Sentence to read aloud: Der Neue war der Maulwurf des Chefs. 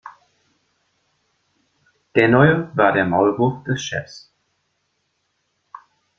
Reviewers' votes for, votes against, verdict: 2, 1, accepted